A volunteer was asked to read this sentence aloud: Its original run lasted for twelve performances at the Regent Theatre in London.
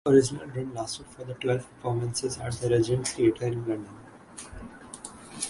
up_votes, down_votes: 3, 6